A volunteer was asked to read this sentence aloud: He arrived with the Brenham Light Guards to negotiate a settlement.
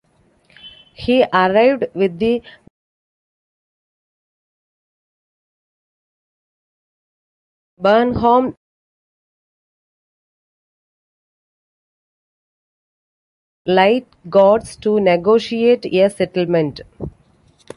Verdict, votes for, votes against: accepted, 2, 1